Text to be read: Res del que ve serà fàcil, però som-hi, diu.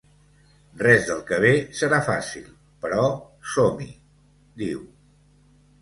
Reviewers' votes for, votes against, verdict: 2, 0, accepted